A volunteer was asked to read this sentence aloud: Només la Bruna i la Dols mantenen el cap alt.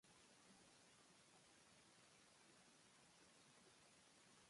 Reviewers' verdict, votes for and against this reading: rejected, 0, 2